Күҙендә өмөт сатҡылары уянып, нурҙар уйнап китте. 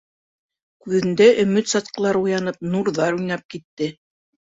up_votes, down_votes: 2, 0